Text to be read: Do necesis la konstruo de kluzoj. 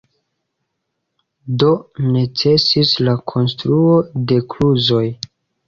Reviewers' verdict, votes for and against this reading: rejected, 1, 2